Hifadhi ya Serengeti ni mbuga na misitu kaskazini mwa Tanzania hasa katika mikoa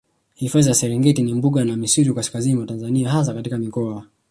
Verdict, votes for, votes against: rejected, 1, 2